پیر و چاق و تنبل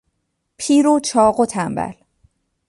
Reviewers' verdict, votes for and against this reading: accepted, 2, 0